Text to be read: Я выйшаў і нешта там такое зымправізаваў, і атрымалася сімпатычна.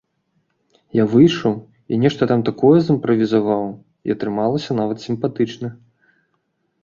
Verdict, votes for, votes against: rejected, 0, 2